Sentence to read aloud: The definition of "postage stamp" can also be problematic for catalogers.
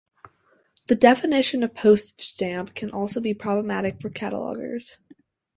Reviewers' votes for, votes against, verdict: 4, 0, accepted